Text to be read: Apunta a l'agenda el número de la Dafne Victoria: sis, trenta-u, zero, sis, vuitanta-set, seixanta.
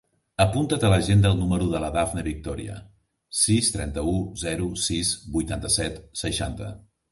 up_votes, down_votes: 0, 3